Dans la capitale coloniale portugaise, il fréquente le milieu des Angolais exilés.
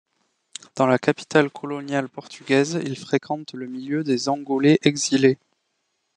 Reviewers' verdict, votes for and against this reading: accepted, 2, 0